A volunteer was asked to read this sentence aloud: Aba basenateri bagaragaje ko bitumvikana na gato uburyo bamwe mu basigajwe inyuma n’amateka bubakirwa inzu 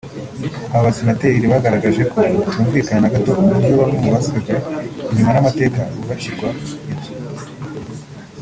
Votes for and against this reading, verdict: 1, 2, rejected